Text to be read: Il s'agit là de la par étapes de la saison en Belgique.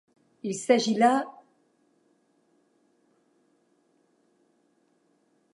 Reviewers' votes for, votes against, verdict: 1, 2, rejected